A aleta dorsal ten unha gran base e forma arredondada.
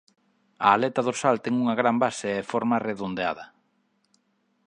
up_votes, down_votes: 0, 2